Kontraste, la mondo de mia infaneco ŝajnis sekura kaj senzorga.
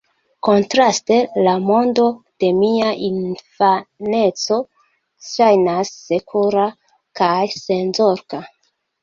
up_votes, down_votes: 0, 2